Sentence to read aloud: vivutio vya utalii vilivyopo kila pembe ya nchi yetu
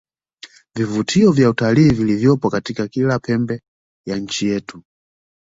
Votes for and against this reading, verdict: 1, 2, rejected